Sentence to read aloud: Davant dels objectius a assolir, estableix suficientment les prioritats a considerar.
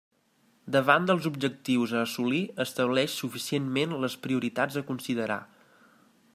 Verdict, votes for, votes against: accepted, 3, 0